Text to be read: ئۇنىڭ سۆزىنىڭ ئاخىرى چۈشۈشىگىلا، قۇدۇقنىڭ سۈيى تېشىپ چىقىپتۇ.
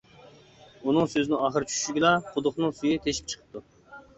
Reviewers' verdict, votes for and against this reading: accepted, 2, 0